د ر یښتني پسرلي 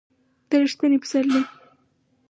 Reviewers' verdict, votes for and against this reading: accepted, 4, 0